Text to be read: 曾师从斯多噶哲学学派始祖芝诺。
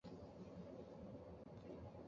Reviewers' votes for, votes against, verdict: 1, 2, rejected